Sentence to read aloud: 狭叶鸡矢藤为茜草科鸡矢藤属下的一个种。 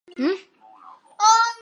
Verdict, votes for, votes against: rejected, 0, 2